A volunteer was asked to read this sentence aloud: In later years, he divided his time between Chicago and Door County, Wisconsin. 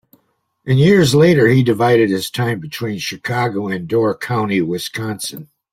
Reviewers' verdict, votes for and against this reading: rejected, 1, 2